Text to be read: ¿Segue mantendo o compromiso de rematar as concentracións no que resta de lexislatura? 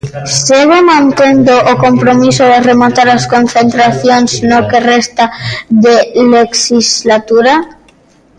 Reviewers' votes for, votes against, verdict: 0, 2, rejected